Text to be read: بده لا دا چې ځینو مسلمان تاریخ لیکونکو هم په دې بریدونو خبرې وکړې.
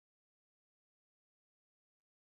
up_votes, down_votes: 0, 2